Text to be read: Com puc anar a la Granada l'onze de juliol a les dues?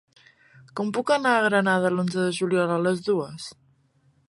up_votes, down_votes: 0, 2